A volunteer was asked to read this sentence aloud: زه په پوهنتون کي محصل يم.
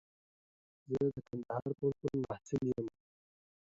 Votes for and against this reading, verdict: 1, 2, rejected